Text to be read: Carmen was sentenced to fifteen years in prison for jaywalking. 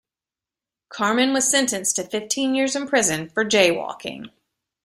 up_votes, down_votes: 2, 0